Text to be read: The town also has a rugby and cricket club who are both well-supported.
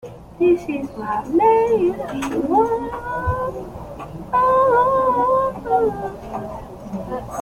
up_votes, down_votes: 0, 2